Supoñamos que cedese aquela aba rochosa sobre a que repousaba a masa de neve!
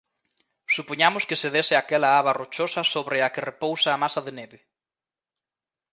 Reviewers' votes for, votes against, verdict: 0, 2, rejected